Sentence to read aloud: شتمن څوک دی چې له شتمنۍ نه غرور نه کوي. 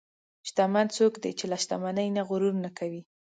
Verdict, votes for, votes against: accepted, 2, 0